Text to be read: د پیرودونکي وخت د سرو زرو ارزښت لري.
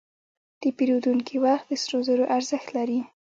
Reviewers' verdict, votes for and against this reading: rejected, 0, 2